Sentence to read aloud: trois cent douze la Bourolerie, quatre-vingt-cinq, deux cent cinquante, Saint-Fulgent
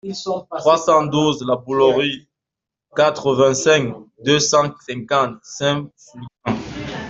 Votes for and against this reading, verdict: 1, 2, rejected